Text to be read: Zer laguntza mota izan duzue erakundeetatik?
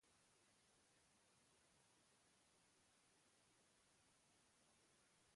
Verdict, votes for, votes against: rejected, 0, 3